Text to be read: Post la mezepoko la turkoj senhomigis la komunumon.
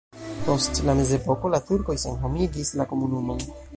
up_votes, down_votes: 2, 0